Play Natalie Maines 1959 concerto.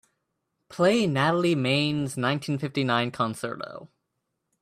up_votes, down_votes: 0, 2